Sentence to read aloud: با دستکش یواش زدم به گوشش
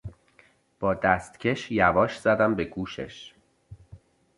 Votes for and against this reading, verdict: 2, 0, accepted